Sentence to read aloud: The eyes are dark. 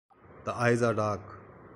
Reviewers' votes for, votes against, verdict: 2, 0, accepted